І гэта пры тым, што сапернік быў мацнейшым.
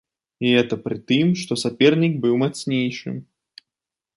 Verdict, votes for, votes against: accepted, 2, 0